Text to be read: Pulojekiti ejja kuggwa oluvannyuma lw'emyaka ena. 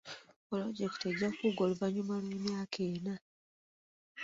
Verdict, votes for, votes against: accepted, 2, 0